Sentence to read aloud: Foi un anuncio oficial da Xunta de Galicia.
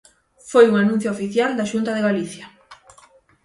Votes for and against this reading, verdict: 3, 3, rejected